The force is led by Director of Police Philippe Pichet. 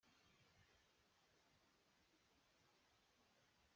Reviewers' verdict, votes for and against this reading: rejected, 1, 2